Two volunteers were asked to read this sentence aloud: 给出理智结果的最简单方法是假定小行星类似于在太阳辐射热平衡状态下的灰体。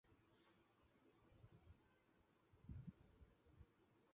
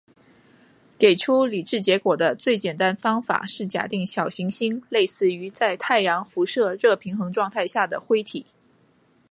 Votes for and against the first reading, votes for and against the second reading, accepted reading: 0, 3, 2, 0, second